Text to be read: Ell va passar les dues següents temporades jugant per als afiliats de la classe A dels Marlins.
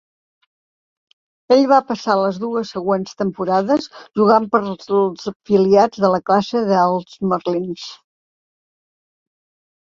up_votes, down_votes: 0, 2